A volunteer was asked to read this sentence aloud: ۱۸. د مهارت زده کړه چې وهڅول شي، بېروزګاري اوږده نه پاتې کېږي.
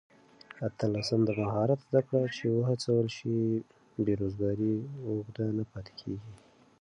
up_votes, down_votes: 0, 2